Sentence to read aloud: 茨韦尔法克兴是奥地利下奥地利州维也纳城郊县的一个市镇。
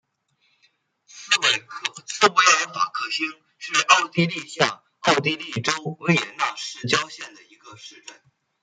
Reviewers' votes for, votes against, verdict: 0, 2, rejected